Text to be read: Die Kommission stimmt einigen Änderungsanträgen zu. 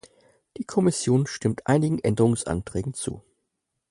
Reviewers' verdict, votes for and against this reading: accepted, 4, 0